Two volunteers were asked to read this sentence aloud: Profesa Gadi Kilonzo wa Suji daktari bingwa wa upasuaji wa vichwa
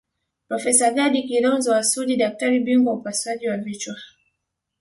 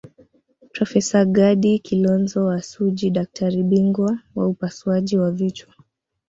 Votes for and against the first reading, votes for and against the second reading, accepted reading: 8, 0, 0, 2, first